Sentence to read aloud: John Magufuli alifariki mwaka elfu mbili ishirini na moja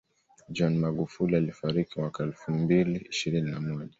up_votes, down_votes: 1, 2